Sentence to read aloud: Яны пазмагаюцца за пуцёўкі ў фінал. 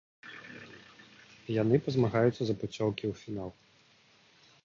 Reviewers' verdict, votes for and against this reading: accepted, 2, 0